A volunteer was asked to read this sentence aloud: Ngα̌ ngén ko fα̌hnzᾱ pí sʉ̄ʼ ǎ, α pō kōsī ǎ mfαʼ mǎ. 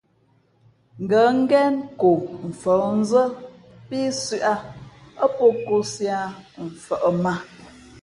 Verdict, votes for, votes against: accepted, 2, 0